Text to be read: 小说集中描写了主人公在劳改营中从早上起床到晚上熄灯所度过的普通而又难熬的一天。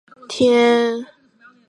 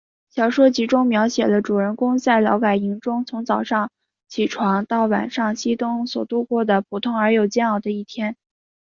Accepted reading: second